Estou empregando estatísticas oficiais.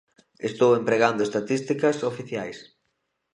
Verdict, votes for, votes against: accepted, 2, 0